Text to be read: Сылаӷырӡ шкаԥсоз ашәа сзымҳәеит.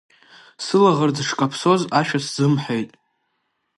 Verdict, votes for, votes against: accepted, 2, 0